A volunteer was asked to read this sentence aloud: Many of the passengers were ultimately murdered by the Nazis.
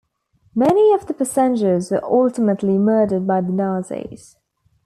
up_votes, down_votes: 2, 0